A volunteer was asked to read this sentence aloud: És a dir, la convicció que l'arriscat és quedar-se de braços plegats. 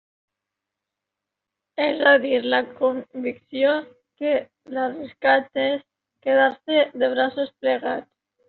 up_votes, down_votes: 2, 0